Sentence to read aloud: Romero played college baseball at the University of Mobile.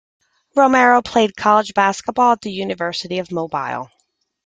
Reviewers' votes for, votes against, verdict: 0, 2, rejected